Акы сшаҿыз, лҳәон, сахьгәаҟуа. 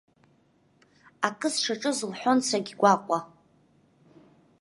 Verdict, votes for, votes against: rejected, 0, 2